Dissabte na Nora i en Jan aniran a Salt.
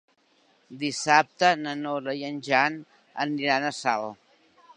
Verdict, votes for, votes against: accepted, 3, 1